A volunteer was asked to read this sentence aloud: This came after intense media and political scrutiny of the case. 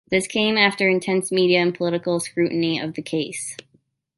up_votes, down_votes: 2, 0